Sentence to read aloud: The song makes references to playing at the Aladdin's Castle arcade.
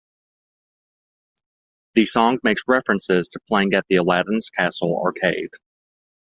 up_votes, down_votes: 2, 0